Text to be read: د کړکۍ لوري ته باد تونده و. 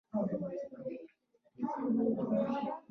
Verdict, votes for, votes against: rejected, 0, 2